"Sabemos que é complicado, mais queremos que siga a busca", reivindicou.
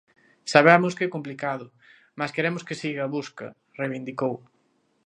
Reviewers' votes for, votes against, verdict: 2, 0, accepted